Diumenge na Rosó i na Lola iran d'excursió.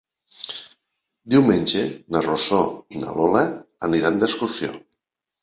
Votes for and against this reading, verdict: 1, 2, rejected